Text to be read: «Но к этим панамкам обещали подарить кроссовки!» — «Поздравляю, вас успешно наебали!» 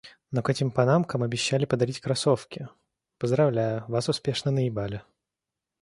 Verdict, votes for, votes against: accepted, 2, 0